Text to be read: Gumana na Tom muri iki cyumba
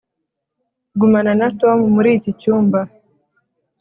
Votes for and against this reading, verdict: 3, 0, accepted